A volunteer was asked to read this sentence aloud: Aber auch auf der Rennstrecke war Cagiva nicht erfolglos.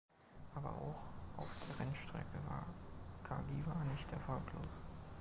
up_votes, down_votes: 2, 1